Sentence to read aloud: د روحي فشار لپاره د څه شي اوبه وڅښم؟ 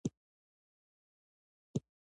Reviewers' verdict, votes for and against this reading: rejected, 1, 2